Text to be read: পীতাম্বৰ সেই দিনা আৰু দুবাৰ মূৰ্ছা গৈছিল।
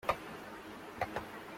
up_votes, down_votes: 0, 2